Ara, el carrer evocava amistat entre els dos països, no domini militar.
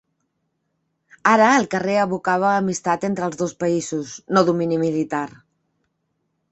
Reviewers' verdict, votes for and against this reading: accepted, 3, 0